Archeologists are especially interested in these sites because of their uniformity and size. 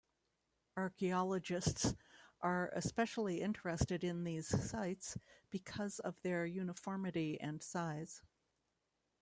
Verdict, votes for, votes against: accepted, 2, 0